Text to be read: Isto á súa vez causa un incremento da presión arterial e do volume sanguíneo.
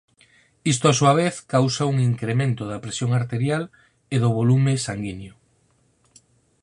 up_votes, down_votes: 4, 0